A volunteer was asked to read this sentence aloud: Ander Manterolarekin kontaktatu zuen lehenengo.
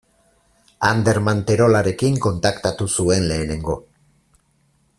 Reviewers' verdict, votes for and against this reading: accepted, 4, 0